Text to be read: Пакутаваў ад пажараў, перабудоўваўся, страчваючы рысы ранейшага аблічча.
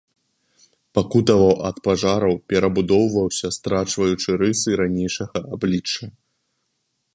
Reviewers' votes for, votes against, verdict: 2, 1, accepted